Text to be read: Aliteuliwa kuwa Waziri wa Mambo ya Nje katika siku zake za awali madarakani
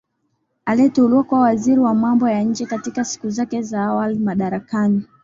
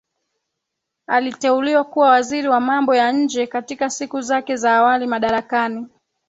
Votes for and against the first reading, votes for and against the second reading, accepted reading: 1, 2, 2, 0, second